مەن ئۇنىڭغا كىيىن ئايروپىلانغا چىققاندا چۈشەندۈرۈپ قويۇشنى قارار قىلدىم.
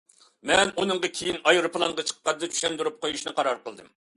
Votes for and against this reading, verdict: 2, 0, accepted